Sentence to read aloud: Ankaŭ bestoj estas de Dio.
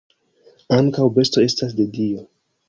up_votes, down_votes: 2, 1